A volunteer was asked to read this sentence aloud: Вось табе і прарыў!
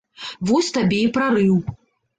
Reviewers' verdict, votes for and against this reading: accepted, 2, 0